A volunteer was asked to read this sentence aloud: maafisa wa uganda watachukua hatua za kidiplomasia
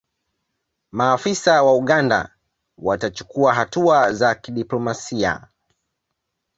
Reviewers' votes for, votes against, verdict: 2, 0, accepted